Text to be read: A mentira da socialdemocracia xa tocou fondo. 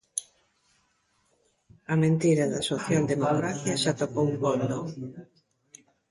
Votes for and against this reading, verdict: 0, 2, rejected